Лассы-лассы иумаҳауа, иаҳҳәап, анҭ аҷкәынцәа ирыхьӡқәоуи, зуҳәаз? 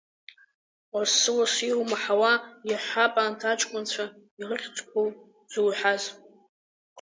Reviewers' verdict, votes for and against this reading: accepted, 6, 2